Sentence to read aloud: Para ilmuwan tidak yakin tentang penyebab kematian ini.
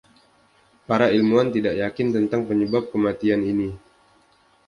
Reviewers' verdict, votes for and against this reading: accepted, 2, 0